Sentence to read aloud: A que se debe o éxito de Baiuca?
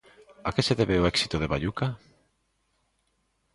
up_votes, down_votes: 2, 0